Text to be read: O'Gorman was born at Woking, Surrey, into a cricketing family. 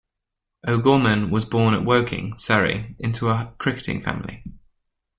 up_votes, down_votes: 2, 0